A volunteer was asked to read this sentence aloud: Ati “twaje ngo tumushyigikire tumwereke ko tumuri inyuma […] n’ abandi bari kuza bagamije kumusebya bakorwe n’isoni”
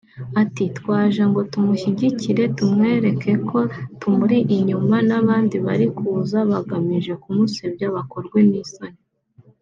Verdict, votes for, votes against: accepted, 2, 0